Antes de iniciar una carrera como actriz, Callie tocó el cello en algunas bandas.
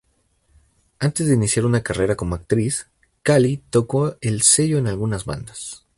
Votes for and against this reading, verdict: 0, 2, rejected